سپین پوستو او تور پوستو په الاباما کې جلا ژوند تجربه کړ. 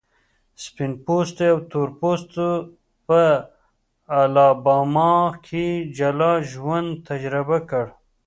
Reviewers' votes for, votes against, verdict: 2, 0, accepted